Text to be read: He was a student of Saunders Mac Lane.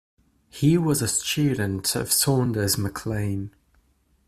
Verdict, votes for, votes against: accepted, 2, 0